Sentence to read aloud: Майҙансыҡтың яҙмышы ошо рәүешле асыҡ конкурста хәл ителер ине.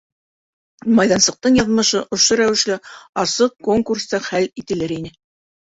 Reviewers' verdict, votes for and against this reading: accepted, 2, 0